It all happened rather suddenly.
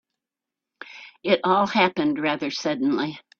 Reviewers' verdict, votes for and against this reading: accepted, 4, 1